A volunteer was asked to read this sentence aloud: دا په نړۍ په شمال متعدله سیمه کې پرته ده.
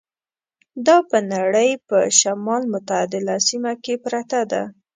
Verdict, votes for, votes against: accepted, 2, 0